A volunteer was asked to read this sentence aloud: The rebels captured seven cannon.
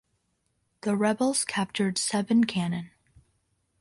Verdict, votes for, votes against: accepted, 2, 0